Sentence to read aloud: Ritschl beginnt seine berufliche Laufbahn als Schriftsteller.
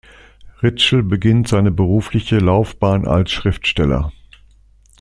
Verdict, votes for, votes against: accepted, 2, 0